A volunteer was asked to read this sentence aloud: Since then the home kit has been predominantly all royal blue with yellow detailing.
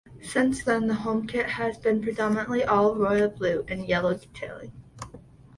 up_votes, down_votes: 2, 1